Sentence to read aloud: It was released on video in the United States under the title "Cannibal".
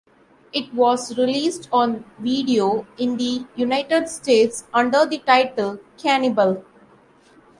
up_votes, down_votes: 2, 0